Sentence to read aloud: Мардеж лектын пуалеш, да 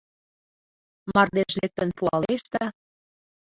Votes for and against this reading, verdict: 1, 2, rejected